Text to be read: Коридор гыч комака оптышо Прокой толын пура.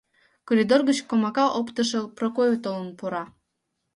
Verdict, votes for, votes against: accepted, 2, 0